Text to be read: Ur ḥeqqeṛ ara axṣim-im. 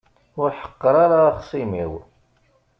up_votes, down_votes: 1, 2